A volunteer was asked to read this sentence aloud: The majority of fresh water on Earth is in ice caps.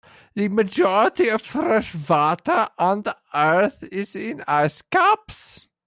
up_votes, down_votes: 0, 2